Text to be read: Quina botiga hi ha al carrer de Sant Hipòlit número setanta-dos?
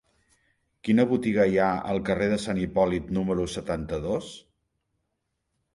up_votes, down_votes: 3, 0